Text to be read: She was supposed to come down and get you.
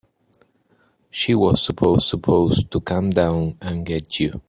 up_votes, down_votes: 0, 3